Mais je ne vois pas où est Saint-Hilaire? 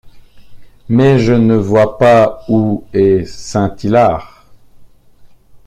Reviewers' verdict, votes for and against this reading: rejected, 0, 2